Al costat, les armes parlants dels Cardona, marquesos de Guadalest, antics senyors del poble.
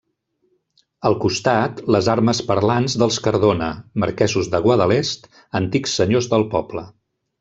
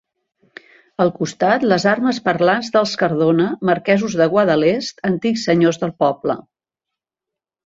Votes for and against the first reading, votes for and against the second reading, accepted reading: 1, 2, 2, 0, second